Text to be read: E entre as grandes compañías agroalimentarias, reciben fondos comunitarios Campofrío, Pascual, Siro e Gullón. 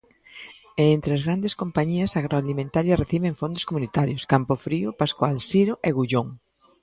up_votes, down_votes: 2, 0